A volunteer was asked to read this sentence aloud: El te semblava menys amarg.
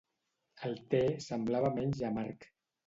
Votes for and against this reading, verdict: 2, 0, accepted